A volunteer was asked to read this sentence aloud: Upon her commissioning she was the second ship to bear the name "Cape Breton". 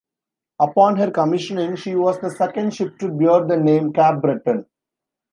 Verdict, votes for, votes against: rejected, 1, 3